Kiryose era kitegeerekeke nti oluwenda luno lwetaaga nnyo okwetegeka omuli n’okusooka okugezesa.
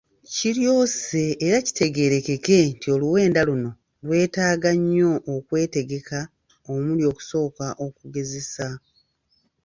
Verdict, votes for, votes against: rejected, 1, 2